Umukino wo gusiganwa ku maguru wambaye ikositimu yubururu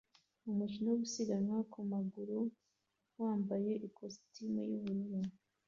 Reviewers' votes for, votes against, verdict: 2, 0, accepted